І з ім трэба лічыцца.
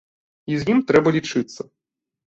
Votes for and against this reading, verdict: 2, 0, accepted